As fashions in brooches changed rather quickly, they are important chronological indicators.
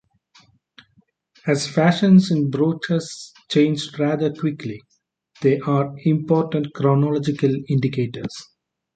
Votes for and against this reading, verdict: 3, 0, accepted